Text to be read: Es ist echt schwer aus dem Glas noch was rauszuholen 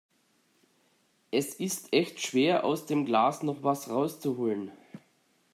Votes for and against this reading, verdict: 2, 0, accepted